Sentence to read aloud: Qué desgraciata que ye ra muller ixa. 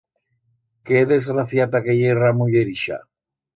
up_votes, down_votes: 2, 0